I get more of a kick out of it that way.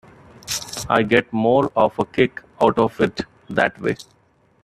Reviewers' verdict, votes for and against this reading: accepted, 3, 1